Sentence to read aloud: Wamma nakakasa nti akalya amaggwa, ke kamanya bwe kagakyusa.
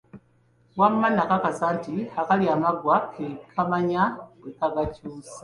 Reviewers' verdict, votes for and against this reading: accepted, 2, 0